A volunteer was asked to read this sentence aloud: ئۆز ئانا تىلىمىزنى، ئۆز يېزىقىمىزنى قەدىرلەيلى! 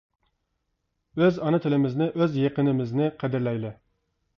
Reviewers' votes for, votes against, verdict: 0, 2, rejected